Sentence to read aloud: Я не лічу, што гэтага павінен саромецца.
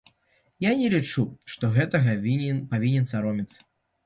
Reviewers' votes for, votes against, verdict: 0, 2, rejected